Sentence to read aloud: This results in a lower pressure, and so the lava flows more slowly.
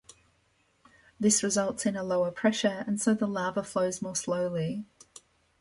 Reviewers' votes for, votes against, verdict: 2, 0, accepted